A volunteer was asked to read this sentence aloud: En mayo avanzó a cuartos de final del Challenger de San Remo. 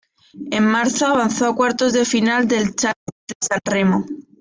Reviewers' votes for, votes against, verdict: 0, 2, rejected